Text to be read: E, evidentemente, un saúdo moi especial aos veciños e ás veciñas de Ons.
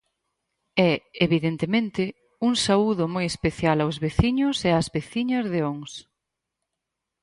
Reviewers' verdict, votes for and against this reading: accepted, 4, 0